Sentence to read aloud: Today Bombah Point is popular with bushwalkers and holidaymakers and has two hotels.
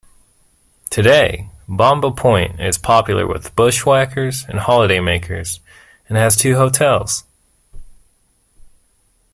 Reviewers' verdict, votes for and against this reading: rejected, 0, 2